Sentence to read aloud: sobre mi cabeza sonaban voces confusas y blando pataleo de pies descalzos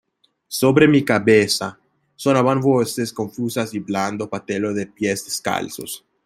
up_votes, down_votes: 0, 2